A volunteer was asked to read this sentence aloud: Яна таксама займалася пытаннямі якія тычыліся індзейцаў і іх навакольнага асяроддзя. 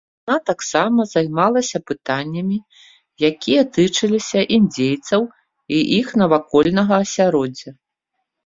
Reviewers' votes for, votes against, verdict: 1, 2, rejected